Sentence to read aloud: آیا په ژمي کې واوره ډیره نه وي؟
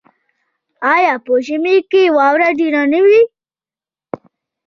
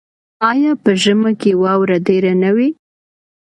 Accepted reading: second